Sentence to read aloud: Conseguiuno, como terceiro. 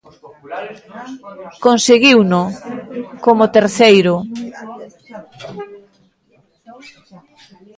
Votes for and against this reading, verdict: 1, 2, rejected